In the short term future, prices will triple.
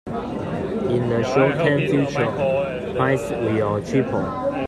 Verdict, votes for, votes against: rejected, 0, 2